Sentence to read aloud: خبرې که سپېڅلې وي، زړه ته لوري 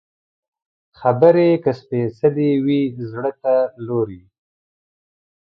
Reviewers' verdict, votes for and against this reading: accepted, 2, 0